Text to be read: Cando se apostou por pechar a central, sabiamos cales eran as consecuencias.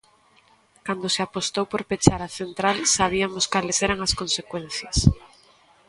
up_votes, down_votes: 1, 2